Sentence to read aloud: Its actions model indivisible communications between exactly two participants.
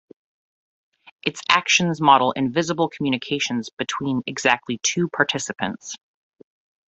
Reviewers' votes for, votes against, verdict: 0, 2, rejected